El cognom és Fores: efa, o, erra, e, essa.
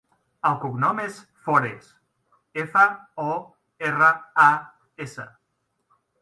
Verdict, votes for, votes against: rejected, 0, 2